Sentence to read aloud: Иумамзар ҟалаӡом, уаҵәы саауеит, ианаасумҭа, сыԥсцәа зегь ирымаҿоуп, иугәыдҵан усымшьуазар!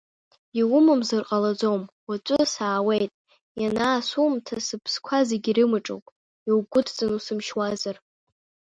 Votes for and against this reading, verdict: 1, 2, rejected